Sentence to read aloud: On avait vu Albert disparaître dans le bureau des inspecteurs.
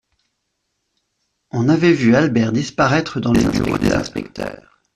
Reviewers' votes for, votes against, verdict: 1, 2, rejected